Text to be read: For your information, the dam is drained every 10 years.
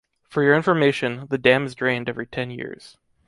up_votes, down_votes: 0, 2